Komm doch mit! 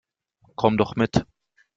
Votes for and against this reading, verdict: 2, 0, accepted